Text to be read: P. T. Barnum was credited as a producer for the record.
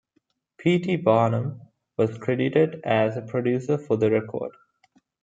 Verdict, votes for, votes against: accepted, 2, 0